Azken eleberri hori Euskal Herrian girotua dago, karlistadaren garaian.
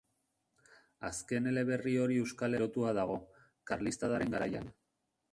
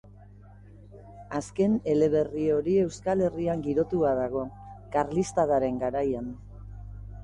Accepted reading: second